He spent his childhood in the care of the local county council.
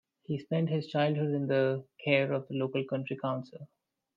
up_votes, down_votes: 2, 1